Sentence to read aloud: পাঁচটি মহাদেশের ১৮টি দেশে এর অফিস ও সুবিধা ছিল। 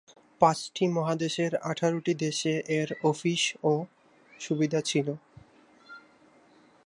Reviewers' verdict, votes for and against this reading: rejected, 0, 2